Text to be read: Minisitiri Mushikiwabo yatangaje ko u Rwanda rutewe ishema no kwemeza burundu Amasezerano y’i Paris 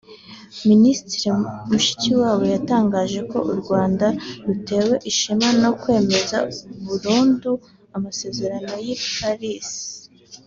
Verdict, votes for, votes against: accepted, 3, 0